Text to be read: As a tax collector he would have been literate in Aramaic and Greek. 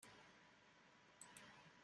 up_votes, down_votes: 0, 3